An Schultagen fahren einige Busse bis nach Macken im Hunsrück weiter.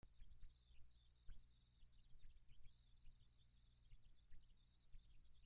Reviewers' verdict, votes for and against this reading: rejected, 0, 2